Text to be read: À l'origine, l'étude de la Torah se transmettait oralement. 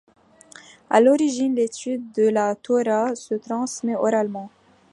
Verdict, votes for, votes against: accepted, 2, 0